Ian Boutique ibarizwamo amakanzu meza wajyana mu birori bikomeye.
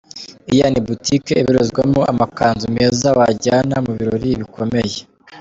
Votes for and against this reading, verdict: 1, 2, rejected